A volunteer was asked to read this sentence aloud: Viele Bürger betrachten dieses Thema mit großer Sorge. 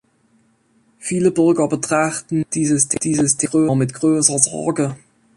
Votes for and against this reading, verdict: 0, 2, rejected